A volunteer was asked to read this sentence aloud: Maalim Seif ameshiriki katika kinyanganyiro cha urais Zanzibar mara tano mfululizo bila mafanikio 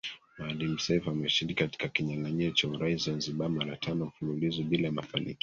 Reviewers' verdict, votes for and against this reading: rejected, 0, 2